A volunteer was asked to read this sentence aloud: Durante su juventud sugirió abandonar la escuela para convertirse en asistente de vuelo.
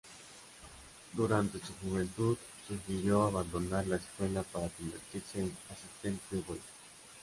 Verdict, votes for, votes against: rejected, 0, 2